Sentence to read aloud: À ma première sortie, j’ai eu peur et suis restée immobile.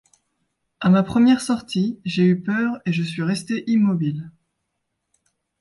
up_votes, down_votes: 2, 1